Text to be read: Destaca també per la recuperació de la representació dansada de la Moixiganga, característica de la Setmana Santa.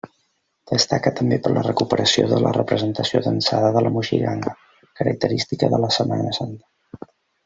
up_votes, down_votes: 0, 2